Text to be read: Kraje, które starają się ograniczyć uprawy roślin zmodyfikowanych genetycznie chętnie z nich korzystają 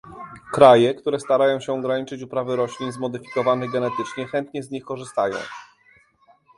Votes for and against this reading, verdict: 0, 2, rejected